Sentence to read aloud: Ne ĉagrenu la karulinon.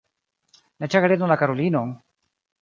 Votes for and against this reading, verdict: 0, 2, rejected